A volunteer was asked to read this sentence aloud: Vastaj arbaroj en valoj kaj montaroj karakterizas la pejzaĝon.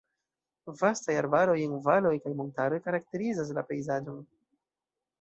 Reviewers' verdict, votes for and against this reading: rejected, 0, 2